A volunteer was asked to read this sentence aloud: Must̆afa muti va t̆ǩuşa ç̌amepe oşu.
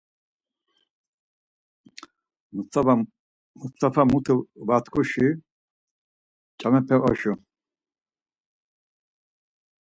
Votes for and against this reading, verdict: 2, 4, rejected